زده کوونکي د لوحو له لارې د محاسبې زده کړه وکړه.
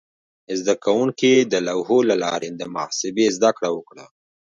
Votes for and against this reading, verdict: 2, 1, accepted